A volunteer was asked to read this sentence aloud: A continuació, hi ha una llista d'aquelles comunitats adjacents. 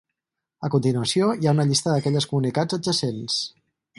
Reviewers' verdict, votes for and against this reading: rejected, 0, 4